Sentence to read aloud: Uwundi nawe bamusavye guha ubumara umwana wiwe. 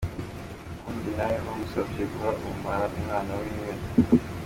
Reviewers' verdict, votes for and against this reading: accepted, 2, 1